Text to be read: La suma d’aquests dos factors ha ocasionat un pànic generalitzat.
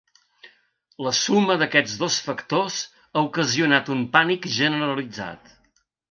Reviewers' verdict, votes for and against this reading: accepted, 3, 0